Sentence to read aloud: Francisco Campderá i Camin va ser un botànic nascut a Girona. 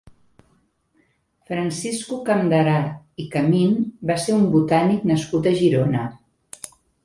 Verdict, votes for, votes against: accepted, 2, 0